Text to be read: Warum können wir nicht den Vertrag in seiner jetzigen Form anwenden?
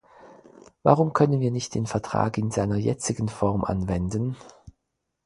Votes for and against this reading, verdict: 4, 0, accepted